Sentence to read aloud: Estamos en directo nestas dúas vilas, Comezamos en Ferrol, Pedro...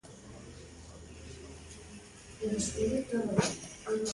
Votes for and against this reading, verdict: 0, 2, rejected